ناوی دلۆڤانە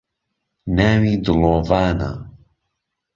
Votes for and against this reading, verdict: 2, 0, accepted